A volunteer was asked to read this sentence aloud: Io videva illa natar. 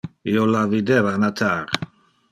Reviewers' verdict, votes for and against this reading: rejected, 0, 2